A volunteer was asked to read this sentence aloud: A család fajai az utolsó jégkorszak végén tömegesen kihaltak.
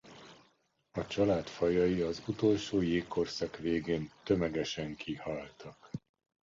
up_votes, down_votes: 2, 0